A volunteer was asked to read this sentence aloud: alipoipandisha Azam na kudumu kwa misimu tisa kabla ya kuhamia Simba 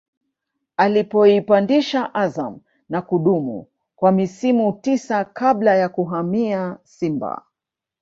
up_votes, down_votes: 1, 2